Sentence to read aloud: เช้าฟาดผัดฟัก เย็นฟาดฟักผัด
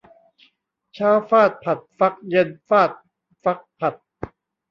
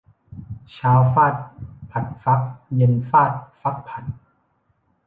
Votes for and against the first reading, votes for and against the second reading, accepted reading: 1, 2, 2, 0, second